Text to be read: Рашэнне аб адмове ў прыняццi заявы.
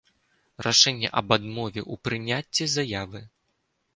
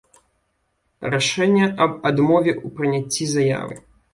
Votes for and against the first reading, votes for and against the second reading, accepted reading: 2, 0, 1, 2, first